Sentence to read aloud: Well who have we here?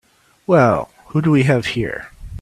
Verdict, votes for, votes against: rejected, 0, 3